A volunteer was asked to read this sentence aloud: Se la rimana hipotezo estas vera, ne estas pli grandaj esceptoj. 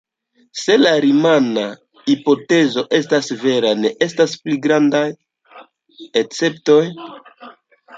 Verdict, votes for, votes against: rejected, 0, 2